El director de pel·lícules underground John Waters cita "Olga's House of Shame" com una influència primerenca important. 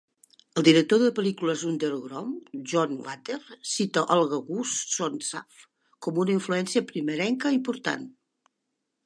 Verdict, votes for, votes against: rejected, 1, 2